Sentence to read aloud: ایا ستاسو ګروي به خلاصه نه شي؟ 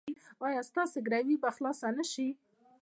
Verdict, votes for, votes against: accepted, 2, 0